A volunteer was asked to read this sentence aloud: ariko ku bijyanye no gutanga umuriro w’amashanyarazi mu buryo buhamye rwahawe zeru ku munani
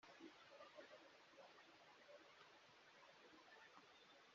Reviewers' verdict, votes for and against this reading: rejected, 1, 3